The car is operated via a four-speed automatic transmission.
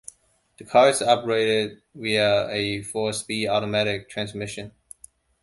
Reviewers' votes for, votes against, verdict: 2, 1, accepted